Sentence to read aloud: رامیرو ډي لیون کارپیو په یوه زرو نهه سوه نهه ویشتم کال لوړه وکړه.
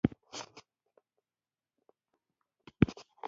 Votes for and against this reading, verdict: 0, 2, rejected